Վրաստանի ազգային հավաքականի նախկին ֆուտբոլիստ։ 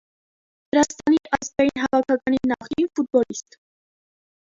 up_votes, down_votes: 0, 2